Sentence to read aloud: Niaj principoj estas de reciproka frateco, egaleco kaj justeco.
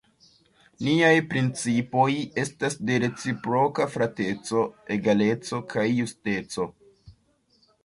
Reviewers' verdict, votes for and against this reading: accepted, 2, 0